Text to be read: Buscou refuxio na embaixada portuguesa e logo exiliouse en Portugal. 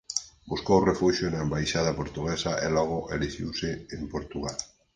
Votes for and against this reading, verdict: 0, 4, rejected